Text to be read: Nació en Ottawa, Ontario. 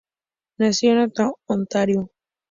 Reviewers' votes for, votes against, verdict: 2, 2, rejected